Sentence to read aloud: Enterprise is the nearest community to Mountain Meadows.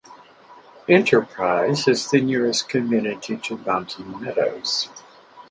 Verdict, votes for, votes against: accepted, 4, 2